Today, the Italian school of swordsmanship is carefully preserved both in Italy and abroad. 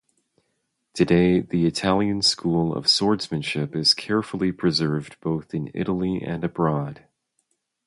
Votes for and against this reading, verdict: 0, 2, rejected